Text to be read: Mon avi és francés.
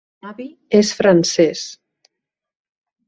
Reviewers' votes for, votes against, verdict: 2, 4, rejected